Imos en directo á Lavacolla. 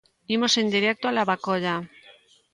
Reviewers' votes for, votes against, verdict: 0, 2, rejected